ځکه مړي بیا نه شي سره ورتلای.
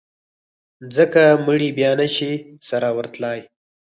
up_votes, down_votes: 4, 0